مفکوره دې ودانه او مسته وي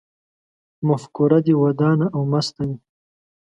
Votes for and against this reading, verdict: 2, 0, accepted